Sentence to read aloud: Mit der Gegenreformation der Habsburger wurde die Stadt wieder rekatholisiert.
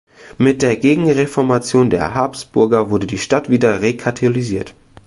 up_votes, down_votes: 1, 2